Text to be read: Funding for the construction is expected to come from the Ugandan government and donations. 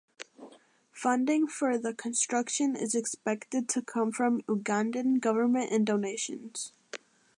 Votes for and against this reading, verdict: 2, 1, accepted